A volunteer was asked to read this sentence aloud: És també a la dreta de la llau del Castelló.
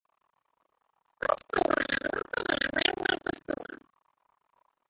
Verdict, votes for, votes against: rejected, 0, 2